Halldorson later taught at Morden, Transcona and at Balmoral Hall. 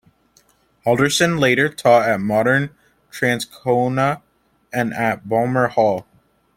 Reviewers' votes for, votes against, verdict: 3, 0, accepted